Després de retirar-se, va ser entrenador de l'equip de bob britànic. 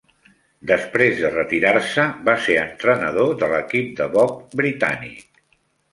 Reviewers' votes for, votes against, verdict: 2, 0, accepted